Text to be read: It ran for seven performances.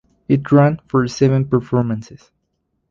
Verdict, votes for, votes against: rejected, 2, 2